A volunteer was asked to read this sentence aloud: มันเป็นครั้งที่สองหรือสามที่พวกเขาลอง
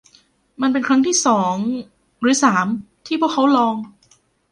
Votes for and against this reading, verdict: 0, 2, rejected